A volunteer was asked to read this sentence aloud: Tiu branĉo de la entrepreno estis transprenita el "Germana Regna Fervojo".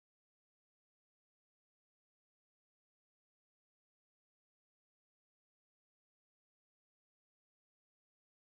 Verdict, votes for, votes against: accepted, 2, 1